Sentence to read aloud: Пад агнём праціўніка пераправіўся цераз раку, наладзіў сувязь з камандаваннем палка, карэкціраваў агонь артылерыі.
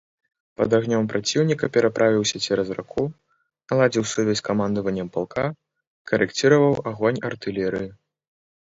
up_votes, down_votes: 2, 0